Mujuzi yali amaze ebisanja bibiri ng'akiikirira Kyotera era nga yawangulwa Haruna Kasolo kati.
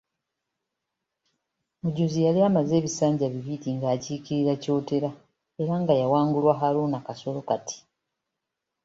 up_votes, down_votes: 2, 1